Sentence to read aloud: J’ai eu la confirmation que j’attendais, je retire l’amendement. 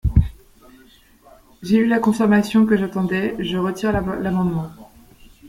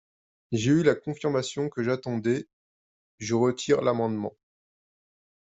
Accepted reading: second